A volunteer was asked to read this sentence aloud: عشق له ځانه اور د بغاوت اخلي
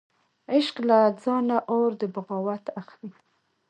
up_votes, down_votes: 2, 1